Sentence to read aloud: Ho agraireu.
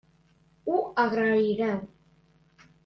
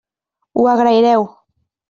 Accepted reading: second